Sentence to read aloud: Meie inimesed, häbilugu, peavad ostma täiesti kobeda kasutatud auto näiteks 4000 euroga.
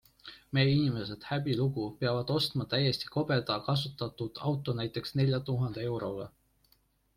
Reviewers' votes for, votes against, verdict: 0, 2, rejected